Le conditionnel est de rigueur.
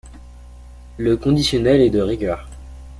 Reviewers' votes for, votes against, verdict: 2, 0, accepted